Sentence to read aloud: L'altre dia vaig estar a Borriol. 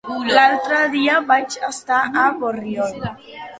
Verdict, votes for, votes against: accepted, 3, 0